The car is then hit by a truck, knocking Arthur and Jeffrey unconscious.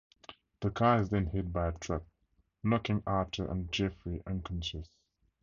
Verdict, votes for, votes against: accepted, 4, 0